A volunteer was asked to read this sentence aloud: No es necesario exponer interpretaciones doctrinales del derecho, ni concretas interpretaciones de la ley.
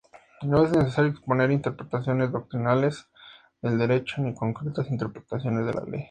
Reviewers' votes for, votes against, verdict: 2, 0, accepted